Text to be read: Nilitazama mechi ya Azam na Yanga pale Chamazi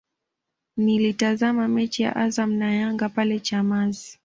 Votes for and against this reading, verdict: 2, 0, accepted